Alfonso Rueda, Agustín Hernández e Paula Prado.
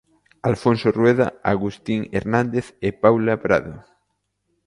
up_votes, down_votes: 2, 0